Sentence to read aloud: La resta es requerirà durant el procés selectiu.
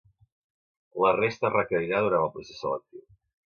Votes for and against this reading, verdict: 1, 2, rejected